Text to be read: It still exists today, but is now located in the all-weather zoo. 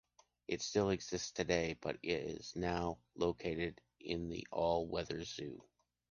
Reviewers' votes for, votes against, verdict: 0, 2, rejected